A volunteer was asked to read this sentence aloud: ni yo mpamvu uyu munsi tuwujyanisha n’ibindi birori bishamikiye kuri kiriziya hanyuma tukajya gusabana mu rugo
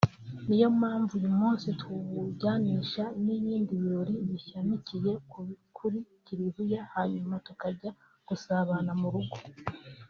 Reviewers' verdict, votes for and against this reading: rejected, 0, 2